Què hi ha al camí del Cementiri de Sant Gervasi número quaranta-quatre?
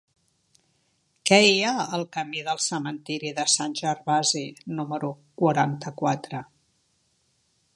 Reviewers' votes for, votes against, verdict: 4, 0, accepted